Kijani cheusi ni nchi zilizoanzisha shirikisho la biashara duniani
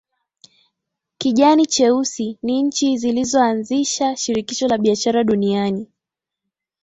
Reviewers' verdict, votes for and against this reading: accepted, 9, 4